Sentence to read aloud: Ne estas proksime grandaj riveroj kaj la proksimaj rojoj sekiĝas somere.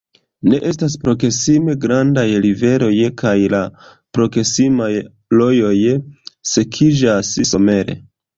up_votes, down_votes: 2, 0